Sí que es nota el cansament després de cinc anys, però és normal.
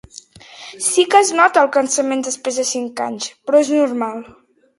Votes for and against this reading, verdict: 2, 0, accepted